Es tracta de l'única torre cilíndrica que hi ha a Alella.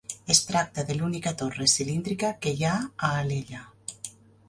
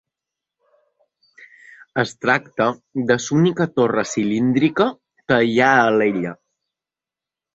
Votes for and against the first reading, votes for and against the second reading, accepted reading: 3, 0, 1, 2, first